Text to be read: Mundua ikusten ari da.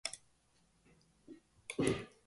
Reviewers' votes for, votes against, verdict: 0, 2, rejected